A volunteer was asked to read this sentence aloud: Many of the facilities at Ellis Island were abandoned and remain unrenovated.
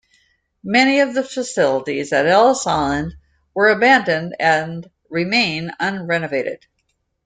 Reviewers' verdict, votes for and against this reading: accepted, 2, 0